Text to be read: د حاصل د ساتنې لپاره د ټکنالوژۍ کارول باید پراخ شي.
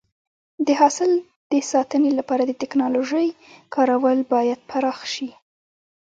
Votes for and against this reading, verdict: 2, 0, accepted